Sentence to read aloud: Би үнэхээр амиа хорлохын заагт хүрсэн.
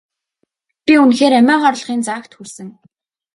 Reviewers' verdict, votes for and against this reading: accepted, 3, 0